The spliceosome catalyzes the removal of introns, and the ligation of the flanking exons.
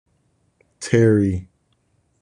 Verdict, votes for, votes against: rejected, 1, 2